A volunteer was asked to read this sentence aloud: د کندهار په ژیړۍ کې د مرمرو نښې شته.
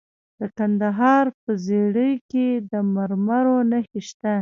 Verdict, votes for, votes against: rejected, 0, 2